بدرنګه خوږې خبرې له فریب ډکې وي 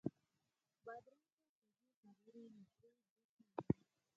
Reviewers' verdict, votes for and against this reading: rejected, 0, 6